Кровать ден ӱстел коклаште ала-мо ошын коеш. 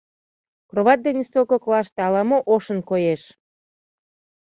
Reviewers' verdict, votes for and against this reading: accepted, 2, 0